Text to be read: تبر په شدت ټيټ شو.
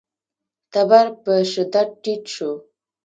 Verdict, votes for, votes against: rejected, 1, 2